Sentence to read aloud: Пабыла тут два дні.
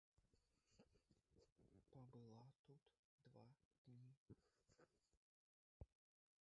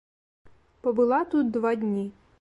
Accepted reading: second